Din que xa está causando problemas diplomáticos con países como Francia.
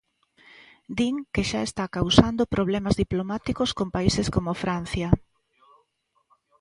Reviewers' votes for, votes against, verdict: 2, 0, accepted